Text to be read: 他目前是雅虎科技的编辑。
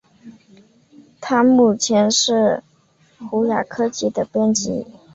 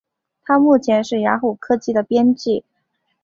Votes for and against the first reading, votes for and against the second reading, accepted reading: 0, 2, 8, 1, second